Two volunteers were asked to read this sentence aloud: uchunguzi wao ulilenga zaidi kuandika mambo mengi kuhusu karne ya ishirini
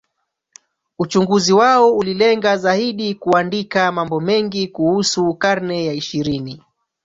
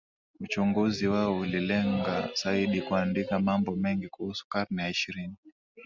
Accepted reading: second